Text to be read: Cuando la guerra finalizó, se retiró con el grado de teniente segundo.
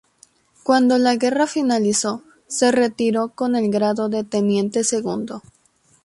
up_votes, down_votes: 2, 0